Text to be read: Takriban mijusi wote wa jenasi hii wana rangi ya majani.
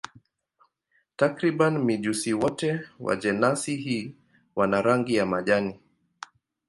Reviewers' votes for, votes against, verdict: 2, 0, accepted